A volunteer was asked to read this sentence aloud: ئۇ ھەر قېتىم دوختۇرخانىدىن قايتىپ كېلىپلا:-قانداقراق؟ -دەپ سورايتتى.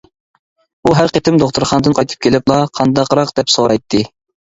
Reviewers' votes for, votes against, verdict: 2, 0, accepted